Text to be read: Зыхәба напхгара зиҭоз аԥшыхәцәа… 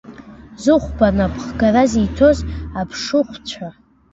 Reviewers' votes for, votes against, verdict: 2, 1, accepted